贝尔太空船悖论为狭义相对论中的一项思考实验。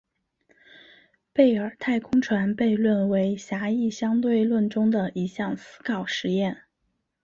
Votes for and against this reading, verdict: 3, 1, accepted